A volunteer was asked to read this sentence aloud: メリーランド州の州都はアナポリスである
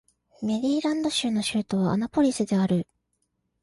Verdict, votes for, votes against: accepted, 2, 0